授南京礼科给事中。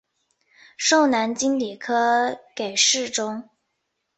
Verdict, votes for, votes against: accepted, 5, 0